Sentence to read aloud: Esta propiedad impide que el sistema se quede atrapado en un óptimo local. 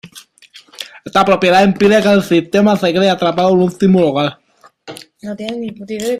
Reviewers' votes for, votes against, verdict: 1, 2, rejected